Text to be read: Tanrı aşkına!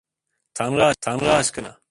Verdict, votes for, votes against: rejected, 0, 2